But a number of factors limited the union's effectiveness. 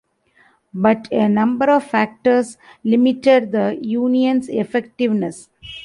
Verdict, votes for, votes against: accepted, 4, 0